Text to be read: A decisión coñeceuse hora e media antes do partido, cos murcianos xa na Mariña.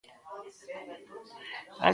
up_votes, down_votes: 0, 2